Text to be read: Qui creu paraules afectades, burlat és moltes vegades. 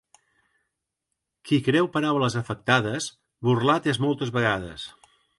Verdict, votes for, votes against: accepted, 2, 0